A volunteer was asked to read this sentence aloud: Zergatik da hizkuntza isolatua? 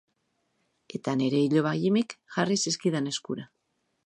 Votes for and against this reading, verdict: 0, 2, rejected